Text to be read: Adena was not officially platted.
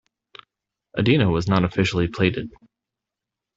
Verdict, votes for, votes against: rejected, 0, 2